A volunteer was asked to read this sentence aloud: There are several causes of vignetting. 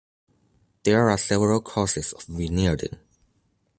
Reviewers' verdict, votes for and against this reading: accepted, 2, 1